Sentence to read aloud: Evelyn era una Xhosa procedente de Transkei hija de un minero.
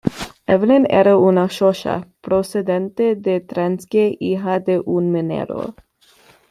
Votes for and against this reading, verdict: 2, 0, accepted